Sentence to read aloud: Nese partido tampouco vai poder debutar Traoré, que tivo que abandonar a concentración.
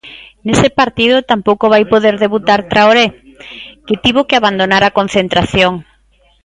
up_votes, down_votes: 2, 0